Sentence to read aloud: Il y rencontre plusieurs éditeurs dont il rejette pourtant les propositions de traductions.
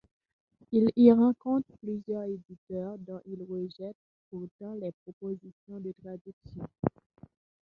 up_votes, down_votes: 2, 1